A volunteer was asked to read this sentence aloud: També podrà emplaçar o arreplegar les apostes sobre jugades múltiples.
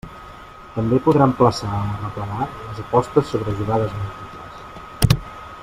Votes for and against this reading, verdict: 0, 2, rejected